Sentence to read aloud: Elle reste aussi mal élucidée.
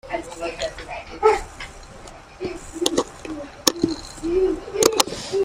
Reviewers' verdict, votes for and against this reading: rejected, 0, 2